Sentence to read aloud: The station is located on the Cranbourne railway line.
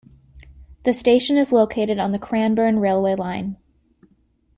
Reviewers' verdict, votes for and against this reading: accepted, 2, 1